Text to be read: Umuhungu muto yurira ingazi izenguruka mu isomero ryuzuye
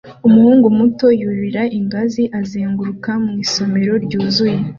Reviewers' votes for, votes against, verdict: 2, 0, accepted